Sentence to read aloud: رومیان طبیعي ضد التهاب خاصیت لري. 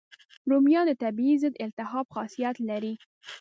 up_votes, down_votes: 2, 0